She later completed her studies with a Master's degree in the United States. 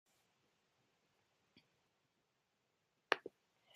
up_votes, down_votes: 0, 2